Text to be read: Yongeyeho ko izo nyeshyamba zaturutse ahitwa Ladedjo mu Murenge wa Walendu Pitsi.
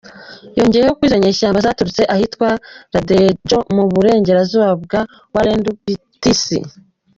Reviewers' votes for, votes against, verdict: 0, 2, rejected